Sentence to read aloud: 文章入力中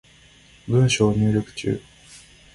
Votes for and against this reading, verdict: 2, 0, accepted